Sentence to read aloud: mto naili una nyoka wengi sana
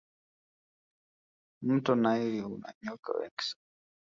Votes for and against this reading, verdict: 1, 2, rejected